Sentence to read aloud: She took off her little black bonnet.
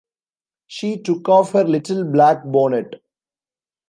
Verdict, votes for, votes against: accepted, 2, 0